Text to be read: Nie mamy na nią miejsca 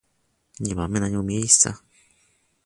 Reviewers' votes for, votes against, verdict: 2, 0, accepted